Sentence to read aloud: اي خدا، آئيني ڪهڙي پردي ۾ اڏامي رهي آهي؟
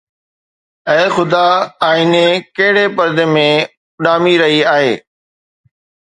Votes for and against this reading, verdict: 2, 0, accepted